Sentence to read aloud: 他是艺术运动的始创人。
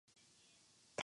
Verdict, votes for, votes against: rejected, 0, 3